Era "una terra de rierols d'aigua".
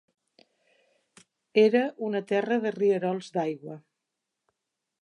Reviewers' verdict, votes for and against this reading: accepted, 3, 0